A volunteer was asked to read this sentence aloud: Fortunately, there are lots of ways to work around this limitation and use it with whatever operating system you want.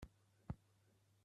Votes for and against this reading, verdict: 0, 2, rejected